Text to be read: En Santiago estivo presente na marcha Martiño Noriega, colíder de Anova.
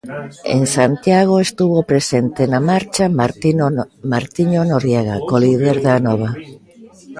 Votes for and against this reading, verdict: 0, 2, rejected